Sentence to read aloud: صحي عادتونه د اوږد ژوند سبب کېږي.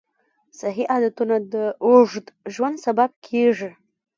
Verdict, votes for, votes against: rejected, 0, 2